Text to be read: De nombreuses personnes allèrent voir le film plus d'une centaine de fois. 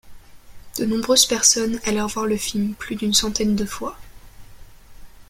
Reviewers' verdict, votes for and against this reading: accepted, 2, 0